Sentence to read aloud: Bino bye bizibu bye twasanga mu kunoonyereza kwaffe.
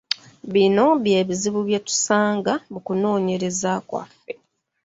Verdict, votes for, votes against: rejected, 1, 2